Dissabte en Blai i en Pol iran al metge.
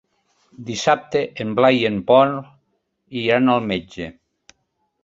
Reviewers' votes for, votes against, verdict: 2, 0, accepted